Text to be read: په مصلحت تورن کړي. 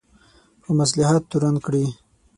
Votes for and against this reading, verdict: 6, 0, accepted